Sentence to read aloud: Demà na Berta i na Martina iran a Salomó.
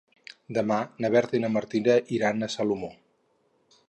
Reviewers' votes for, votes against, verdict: 4, 2, accepted